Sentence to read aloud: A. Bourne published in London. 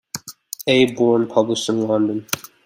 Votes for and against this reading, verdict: 2, 0, accepted